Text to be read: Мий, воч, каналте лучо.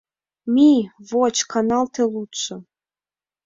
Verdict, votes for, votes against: rejected, 1, 2